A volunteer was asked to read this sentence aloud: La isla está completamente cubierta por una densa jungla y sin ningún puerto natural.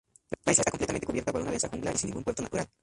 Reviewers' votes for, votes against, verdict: 0, 2, rejected